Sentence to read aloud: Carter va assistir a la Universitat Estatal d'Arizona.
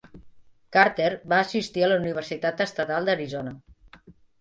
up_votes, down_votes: 2, 0